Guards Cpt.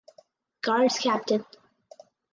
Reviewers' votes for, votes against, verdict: 2, 2, rejected